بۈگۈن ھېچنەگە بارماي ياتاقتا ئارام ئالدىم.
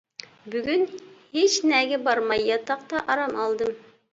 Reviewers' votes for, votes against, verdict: 2, 0, accepted